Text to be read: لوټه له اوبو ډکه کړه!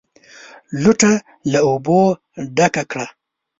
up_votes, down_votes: 1, 2